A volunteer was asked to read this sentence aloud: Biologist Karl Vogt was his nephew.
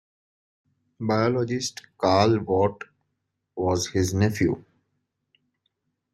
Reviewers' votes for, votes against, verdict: 2, 0, accepted